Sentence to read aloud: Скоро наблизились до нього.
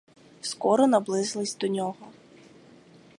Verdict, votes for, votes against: accepted, 4, 0